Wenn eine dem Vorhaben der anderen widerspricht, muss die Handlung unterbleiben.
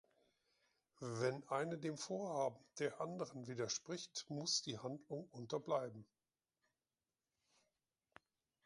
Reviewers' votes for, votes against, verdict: 2, 0, accepted